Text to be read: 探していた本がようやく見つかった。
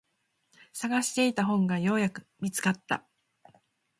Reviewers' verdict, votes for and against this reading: accepted, 2, 0